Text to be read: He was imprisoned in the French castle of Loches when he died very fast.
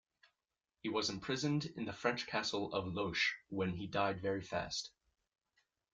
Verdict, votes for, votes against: accepted, 2, 0